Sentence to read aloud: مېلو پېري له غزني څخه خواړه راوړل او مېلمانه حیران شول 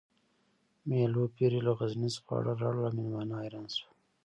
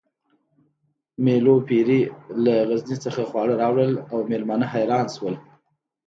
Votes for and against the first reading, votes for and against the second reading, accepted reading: 0, 2, 2, 0, second